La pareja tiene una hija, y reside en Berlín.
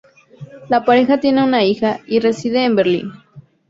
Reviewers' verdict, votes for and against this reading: accepted, 2, 0